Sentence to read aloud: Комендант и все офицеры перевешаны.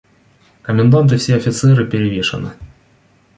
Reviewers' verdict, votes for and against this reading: accepted, 2, 0